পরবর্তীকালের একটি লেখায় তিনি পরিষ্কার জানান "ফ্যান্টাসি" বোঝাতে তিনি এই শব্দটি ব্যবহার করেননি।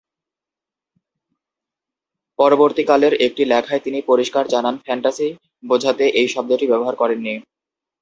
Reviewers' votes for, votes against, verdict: 0, 2, rejected